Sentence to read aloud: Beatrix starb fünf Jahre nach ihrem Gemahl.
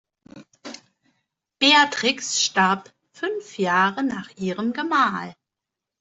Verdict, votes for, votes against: accepted, 2, 0